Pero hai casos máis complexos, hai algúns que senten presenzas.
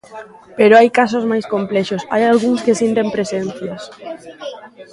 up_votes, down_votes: 0, 2